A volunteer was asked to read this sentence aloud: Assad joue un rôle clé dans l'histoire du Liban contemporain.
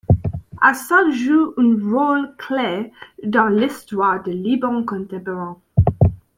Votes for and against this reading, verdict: 1, 2, rejected